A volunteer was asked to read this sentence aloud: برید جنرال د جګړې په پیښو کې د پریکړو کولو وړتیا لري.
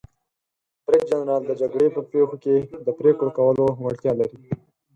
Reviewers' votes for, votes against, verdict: 0, 4, rejected